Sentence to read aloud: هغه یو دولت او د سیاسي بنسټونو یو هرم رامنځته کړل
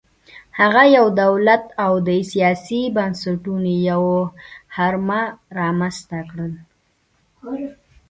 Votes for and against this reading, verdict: 2, 0, accepted